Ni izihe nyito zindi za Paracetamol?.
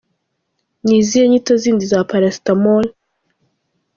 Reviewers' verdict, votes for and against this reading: accepted, 2, 0